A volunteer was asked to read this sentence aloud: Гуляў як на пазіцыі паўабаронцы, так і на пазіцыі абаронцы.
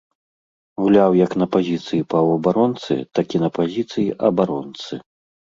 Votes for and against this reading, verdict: 2, 0, accepted